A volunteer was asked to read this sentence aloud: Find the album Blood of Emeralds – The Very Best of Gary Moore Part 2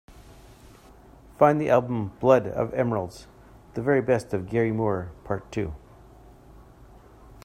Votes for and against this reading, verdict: 0, 2, rejected